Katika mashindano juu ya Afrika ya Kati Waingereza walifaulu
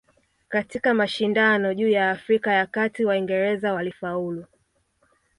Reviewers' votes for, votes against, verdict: 2, 0, accepted